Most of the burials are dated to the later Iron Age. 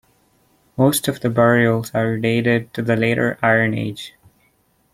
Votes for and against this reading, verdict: 2, 0, accepted